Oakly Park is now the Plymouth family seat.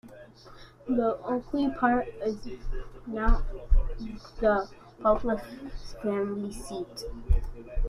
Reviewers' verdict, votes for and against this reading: rejected, 0, 2